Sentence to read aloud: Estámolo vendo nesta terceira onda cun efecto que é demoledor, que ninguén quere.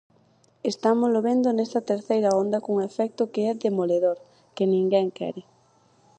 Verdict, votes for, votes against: accepted, 4, 0